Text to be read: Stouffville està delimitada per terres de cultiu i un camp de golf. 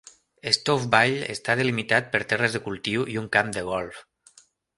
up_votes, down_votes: 0, 2